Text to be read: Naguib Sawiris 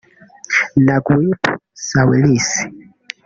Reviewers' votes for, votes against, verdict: 1, 2, rejected